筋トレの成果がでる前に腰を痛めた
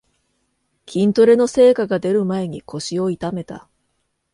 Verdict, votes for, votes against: accepted, 2, 0